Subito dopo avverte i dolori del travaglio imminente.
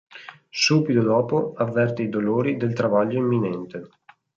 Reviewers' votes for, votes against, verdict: 2, 0, accepted